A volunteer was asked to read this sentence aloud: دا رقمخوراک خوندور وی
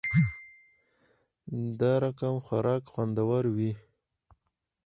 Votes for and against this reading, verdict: 4, 2, accepted